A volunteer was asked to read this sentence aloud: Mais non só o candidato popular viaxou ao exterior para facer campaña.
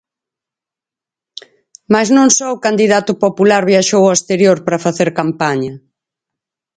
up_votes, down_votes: 4, 0